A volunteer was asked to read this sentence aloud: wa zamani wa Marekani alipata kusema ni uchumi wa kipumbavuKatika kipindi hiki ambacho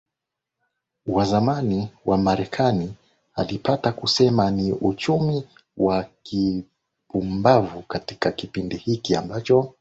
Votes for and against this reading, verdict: 2, 0, accepted